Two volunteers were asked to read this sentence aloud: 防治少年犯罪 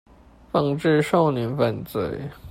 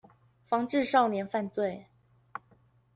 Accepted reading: second